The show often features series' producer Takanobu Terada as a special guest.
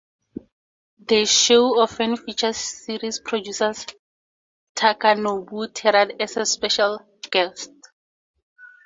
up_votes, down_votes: 2, 2